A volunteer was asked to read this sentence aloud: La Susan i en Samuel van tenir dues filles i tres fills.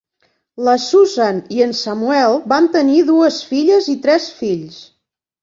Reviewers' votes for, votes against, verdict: 3, 0, accepted